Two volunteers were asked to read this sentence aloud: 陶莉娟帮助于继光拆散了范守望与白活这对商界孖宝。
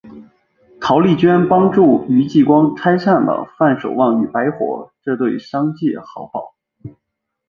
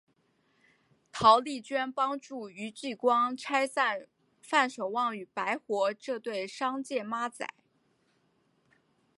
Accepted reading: first